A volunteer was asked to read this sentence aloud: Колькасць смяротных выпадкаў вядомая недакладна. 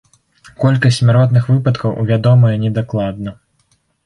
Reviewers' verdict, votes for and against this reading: rejected, 0, 2